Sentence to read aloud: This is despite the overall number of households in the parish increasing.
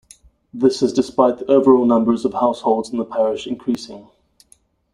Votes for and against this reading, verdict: 1, 2, rejected